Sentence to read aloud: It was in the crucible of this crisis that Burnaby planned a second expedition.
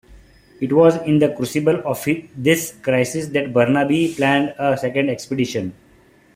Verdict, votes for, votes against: accepted, 2, 1